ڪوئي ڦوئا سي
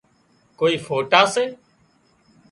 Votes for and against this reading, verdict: 0, 2, rejected